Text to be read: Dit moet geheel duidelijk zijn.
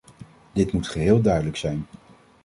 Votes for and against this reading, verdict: 2, 0, accepted